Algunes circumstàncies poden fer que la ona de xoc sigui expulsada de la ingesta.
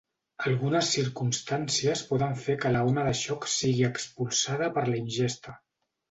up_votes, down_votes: 0, 2